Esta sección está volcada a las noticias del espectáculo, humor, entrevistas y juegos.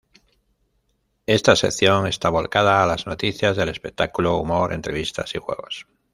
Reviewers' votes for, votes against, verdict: 1, 2, rejected